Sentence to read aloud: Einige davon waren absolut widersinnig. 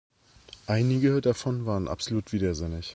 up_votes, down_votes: 2, 0